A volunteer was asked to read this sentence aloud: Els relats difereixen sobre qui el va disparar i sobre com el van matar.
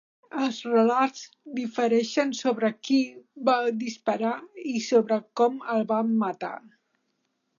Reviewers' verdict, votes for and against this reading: rejected, 0, 2